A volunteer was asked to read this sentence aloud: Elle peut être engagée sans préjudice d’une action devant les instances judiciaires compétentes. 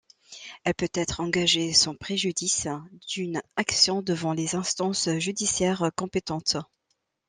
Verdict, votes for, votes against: accepted, 2, 0